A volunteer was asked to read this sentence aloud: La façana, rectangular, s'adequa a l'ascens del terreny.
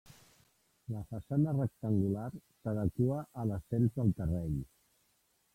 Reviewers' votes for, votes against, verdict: 1, 3, rejected